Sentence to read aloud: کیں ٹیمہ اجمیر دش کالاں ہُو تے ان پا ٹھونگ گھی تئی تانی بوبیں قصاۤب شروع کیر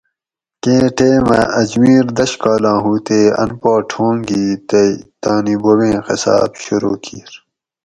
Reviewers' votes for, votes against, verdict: 4, 0, accepted